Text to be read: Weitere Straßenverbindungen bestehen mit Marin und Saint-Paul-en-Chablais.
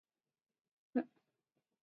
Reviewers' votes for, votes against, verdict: 0, 2, rejected